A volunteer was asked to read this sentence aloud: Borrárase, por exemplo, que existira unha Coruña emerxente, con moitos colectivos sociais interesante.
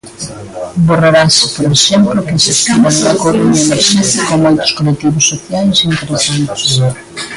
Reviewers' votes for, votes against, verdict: 0, 2, rejected